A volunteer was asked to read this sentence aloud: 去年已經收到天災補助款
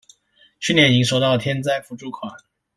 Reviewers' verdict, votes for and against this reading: rejected, 1, 2